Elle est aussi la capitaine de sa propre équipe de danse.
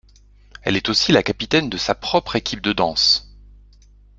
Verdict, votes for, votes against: accepted, 2, 0